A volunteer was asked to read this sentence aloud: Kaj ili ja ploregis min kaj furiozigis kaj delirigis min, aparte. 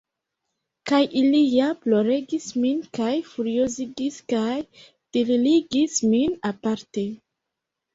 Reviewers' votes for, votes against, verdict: 0, 2, rejected